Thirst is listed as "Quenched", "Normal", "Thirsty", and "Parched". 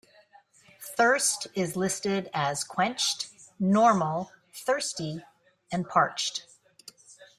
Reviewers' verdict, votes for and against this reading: accepted, 2, 0